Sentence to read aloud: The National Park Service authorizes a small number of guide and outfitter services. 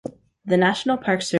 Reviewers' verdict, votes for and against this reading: rejected, 0, 2